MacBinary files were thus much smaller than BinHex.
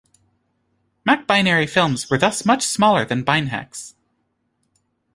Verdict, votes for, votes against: rejected, 0, 2